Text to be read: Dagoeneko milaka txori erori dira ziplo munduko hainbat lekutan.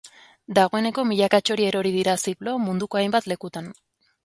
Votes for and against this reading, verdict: 7, 0, accepted